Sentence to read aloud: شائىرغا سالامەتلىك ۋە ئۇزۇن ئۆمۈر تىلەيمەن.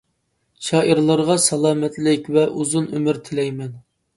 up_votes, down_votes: 1, 2